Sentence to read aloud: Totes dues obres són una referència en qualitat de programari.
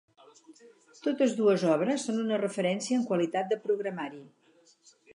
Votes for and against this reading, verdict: 2, 0, accepted